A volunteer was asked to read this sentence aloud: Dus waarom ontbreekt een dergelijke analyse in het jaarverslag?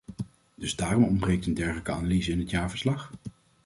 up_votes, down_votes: 1, 2